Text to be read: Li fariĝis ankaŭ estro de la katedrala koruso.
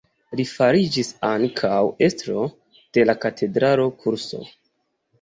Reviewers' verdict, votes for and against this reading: rejected, 1, 2